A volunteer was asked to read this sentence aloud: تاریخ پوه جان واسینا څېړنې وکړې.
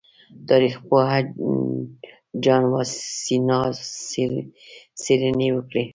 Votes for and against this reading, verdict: 0, 2, rejected